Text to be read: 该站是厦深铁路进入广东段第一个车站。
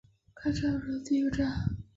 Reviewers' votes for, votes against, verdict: 0, 4, rejected